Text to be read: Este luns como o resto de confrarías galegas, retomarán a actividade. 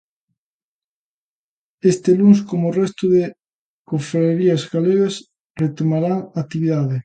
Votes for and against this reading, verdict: 0, 2, rejected